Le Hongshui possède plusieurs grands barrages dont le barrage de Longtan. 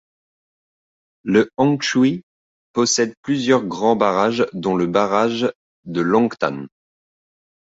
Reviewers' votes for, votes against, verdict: 2, 0, accepted